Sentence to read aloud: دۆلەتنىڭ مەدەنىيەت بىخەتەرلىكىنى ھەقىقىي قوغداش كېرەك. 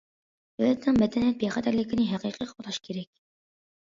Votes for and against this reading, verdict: 2, 1, accepted